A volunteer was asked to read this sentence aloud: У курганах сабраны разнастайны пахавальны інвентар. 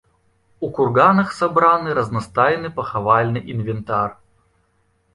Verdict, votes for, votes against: rejected, 0, 2